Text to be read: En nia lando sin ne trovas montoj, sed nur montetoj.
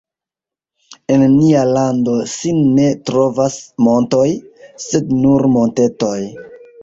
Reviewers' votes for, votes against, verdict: 2, 0, accepted